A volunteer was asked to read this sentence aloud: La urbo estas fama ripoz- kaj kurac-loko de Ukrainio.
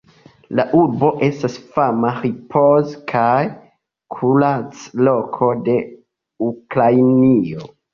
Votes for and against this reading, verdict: 3, 0, accepted